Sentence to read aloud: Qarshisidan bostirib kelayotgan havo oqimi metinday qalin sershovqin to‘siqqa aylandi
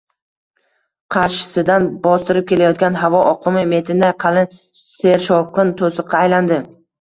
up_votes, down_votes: 1, 2